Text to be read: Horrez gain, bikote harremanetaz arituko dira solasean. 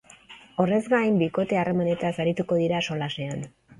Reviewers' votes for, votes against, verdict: 3, 0, accepted